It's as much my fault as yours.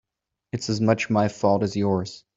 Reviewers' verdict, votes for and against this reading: accepted, 3, 0